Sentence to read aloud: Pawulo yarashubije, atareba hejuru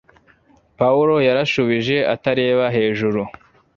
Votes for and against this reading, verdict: 2, 0, accepted